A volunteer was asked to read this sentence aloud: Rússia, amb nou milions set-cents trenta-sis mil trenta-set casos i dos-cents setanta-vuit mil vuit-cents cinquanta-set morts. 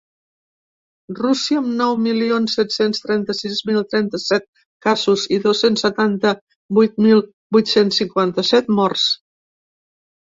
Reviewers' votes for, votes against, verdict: 2, 0, accepted